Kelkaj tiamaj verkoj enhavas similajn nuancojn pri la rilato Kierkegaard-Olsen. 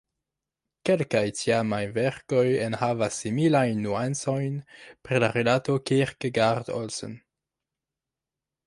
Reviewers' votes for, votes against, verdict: 2, 1, accepted